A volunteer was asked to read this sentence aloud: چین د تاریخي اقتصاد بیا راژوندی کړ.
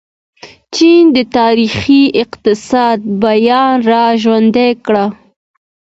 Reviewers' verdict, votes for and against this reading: rejected, 1, 2